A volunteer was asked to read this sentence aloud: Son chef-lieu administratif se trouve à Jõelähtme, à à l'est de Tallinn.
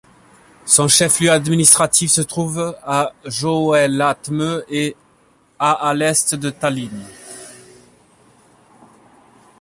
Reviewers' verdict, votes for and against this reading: rejected, 0, 2